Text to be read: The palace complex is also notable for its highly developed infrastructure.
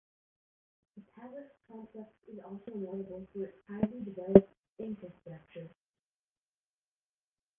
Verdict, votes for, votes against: rejected, 0, 2